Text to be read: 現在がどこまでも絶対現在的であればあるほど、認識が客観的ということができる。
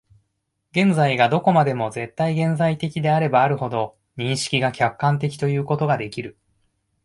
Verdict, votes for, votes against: accepted, 2, 0